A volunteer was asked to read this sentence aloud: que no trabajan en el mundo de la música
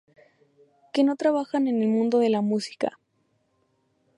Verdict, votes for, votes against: accepted, 2, 0